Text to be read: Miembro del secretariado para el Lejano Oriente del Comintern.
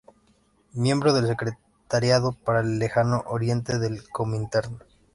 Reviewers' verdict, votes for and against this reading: rejected, 0, 2